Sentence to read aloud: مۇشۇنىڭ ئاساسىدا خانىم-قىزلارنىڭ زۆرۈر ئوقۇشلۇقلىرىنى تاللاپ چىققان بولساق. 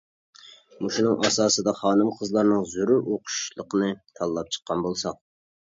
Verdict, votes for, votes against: rejected, 0, 2